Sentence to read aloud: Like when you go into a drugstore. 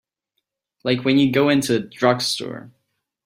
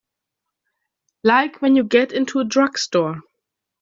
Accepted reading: first